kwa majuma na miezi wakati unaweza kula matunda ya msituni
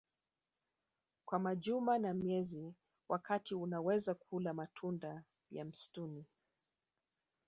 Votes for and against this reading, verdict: 2, 1, accepted